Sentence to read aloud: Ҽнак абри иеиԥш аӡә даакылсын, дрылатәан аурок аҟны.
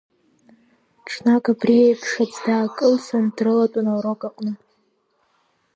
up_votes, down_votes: 2, 0